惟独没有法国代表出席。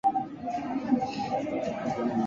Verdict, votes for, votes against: rejected, 0, 3